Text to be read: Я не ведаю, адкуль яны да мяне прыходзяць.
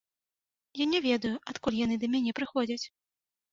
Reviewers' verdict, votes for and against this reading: accepted, 2, 0